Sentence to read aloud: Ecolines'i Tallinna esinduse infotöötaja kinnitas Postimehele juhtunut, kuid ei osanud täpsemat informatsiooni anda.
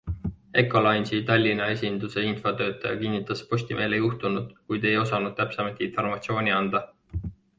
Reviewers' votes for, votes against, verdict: 2, 0, accepted